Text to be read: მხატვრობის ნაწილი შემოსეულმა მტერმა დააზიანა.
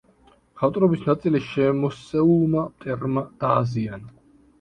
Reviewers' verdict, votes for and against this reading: accepted, 2, 1